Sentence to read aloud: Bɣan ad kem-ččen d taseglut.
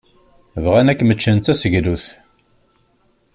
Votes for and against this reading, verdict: 2, 0, accepted